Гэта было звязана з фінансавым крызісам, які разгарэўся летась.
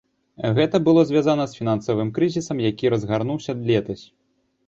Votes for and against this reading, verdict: 0, 2, rejected